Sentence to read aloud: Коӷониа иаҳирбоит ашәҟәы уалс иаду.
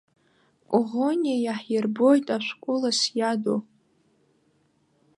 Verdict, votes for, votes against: rejected, 0, 2